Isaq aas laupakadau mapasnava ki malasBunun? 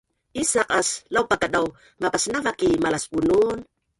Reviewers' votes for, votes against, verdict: 1, 4, rejected